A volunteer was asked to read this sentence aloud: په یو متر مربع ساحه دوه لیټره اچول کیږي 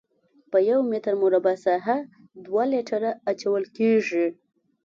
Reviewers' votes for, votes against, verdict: 2, 0, accepted